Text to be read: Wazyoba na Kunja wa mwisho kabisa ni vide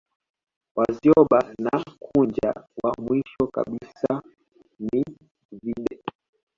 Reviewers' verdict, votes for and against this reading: accepted, 2, 1